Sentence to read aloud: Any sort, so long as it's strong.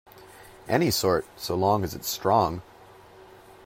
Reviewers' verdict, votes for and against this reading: accepted, 2, 0